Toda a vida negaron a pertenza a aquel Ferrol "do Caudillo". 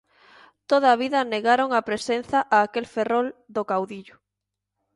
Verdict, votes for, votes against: rejected, 1, 2